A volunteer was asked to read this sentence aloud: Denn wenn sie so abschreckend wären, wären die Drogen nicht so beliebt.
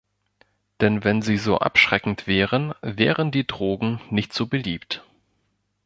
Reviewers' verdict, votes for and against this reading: accepted, 2, 0